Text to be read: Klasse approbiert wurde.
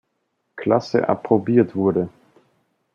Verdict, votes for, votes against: accepted, 2, 0